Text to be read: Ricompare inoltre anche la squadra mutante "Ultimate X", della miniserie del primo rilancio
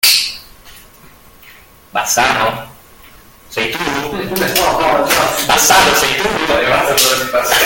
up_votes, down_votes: 0, 2